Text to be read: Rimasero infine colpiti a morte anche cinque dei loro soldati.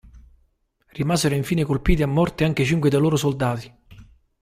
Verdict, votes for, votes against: accepted, 2, 0